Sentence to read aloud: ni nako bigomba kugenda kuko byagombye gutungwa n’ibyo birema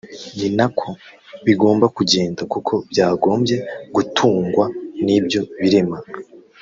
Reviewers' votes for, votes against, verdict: 1, 2, rejected